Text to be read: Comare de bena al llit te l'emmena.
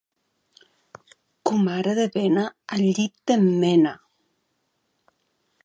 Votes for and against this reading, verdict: 2, 1, accepted